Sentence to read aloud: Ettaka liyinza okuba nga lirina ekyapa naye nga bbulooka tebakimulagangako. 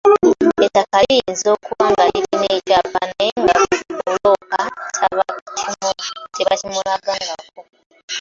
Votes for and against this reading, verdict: 0, 2, rejected